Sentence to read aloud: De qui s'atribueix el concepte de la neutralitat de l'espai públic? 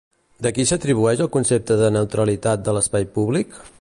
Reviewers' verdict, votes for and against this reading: rejected, 0, 2